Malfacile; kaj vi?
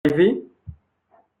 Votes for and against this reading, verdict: 0, 2, rejected